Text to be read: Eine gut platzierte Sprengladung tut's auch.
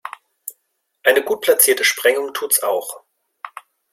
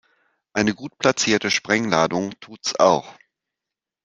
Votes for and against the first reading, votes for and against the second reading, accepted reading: 0, 2, 2, 0, second